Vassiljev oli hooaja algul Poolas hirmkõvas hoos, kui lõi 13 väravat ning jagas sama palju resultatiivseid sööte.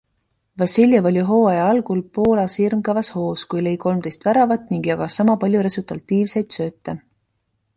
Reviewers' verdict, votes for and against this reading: rejected, 0, 2